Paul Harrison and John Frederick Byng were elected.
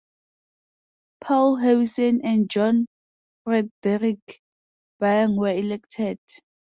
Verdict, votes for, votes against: accepted, 2, 0